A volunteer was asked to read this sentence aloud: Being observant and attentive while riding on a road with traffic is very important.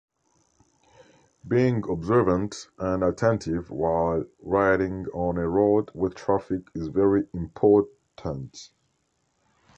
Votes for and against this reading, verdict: 1, 2, rejected